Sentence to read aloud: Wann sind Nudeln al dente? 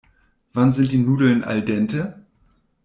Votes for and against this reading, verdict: 0, 2, rejected